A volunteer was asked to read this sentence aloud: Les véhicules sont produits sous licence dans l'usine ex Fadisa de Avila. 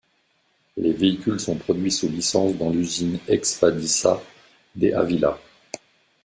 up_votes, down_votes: 1, 2